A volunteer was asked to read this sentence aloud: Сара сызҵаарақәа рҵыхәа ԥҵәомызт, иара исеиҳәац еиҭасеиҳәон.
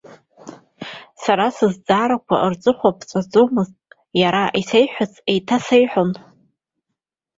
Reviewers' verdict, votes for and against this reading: rejected, 1, 2